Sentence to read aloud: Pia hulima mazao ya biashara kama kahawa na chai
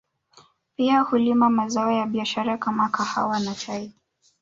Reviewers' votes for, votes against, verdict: 2, 0, accepted